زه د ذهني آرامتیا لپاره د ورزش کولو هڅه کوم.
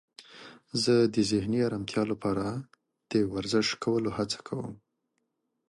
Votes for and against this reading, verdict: 2, 0, accepted